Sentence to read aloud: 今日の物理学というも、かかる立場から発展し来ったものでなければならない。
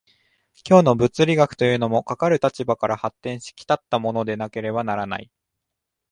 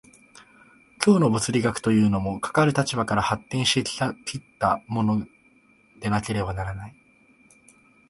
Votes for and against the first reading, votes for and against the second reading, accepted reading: 2, 0, 1, 2, first